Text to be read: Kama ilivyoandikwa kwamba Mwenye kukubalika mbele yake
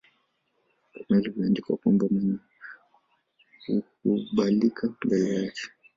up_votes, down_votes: 1, 2